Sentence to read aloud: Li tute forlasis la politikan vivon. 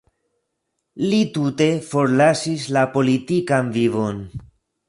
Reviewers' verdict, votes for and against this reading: accepted, 2, 0